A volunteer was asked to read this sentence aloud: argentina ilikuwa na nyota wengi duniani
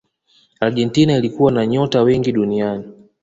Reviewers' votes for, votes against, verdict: 2, 0, accepted